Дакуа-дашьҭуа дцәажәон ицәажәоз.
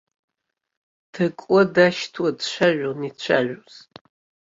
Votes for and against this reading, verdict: 2, 0, accepted